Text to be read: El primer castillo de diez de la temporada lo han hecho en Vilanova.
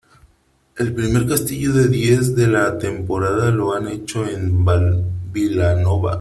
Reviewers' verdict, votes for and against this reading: rejected, 0, 2